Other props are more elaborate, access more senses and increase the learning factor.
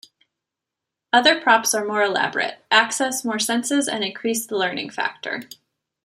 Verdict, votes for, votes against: rejected, 1, 2